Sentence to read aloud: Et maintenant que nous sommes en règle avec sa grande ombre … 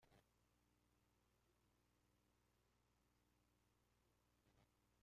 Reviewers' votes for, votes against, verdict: 0, 2, rejected